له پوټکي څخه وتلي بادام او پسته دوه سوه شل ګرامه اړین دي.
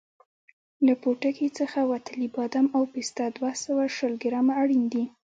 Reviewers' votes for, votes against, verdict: 2, 0, accepted